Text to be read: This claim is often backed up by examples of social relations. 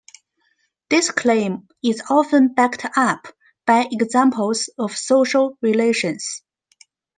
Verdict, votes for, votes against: accepted, 2, 0